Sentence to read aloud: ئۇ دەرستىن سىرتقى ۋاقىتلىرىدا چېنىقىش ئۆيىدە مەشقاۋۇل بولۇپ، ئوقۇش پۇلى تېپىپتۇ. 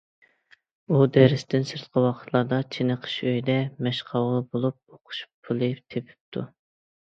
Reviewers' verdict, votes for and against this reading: rejected, 1, 2